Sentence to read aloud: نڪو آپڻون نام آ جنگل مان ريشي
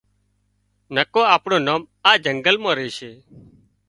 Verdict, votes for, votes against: accepted, 3, 0